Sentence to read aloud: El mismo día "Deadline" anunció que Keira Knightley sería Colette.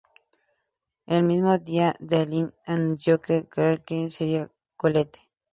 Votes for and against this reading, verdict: 0, 2, rejected